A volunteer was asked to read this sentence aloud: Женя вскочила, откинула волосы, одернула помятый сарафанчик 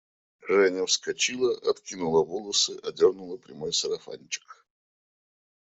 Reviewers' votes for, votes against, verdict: 0, 2, rejected